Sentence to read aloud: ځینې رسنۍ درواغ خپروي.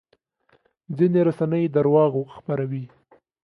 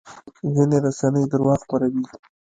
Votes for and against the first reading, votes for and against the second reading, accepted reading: 2, 0, 1, 2, first